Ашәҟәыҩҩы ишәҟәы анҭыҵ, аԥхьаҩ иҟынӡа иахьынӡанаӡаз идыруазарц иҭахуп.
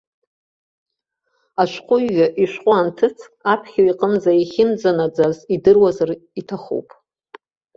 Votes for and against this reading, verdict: 1, 2, rejected